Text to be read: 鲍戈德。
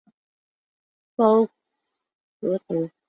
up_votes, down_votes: 4, 1